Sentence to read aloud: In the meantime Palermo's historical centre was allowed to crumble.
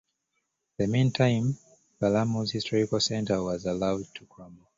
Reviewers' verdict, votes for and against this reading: accepted, 2, 0